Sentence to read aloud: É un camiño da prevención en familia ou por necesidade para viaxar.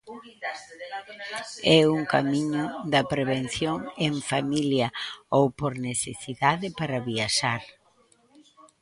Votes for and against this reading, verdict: 0, 2, rejected